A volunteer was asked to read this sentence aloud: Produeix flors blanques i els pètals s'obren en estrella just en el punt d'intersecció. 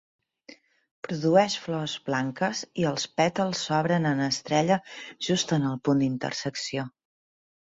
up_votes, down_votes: 2, 0